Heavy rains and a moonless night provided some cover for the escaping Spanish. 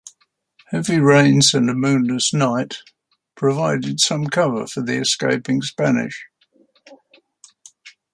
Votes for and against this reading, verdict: 2, 0, accepted